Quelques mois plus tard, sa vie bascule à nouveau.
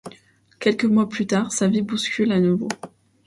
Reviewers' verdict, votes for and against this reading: rejected, 1, 2